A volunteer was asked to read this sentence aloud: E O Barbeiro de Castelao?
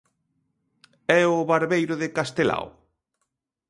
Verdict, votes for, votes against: accepted, 2, 0